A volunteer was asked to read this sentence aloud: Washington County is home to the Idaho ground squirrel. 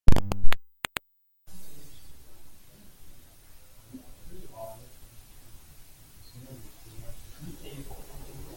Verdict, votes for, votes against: rejected, 0, 2